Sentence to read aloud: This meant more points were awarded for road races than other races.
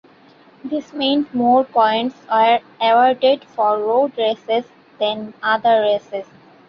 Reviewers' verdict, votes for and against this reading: rejected, 0, 2